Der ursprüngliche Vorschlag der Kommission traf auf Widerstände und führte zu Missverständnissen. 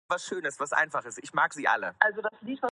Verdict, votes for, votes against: rejected, 0, 2